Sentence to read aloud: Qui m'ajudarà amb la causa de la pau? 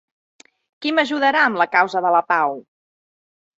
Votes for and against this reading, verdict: 3, 0, accepted